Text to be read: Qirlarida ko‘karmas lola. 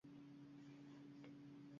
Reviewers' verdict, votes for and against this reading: rejected, 1, 2